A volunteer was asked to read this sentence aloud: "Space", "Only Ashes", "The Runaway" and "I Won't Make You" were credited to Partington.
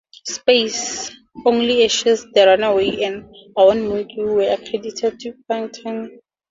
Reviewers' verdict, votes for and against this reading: accepted, 2, 0